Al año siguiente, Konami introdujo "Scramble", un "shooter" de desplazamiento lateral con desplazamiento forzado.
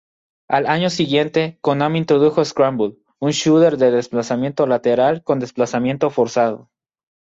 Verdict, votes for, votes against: accepted, 2, 0